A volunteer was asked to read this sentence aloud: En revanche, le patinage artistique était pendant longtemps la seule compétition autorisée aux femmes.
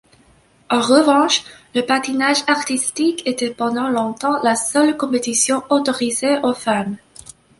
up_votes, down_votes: 2, 0